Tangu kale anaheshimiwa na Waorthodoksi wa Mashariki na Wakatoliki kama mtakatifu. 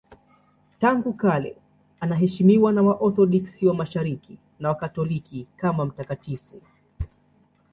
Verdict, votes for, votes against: accepted, 2, 1